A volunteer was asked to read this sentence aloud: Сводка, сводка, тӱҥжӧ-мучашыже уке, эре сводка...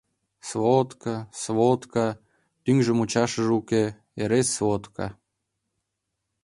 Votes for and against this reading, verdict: 2, 0, accepted